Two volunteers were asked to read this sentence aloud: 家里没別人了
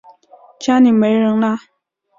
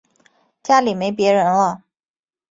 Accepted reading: second